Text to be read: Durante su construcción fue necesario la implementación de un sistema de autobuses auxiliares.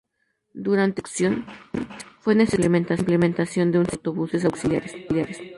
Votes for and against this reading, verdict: 0, 2, rejected